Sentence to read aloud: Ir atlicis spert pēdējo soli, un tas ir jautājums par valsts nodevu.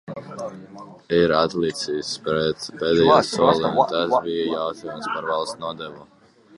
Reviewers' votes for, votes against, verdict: 0, 2, rejected